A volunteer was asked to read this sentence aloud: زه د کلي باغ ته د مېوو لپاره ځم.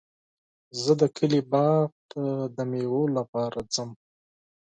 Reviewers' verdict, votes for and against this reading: accepted, 4, 0